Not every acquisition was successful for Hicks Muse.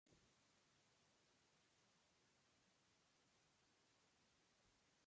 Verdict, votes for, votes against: rejected, 0, 2